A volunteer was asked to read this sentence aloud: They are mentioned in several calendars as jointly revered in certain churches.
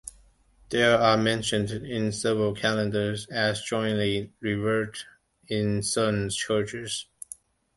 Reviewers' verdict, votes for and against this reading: accepted, 2, 0